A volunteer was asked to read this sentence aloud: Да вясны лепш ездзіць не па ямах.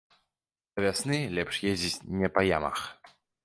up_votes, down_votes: 0, 2